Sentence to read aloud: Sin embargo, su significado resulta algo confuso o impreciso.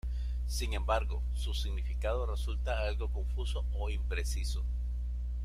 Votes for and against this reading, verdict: 0, 2, rejected